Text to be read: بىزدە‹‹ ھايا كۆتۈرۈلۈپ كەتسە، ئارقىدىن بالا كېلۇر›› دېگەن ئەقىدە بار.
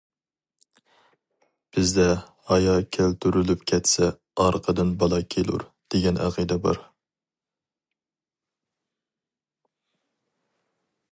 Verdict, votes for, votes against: rejected, 0, 2